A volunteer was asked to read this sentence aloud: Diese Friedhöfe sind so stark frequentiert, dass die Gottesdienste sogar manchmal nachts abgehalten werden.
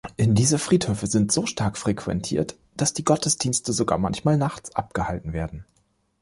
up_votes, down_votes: 2, 3